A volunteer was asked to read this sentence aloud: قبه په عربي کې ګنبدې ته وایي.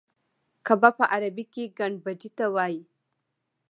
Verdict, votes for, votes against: accepted, 2, 0